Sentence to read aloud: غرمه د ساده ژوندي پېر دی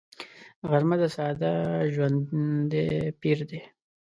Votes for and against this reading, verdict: 1, 2, rejected